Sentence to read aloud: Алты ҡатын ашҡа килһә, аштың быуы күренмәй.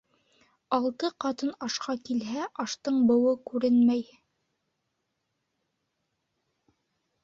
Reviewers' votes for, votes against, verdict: 2, 0, accepted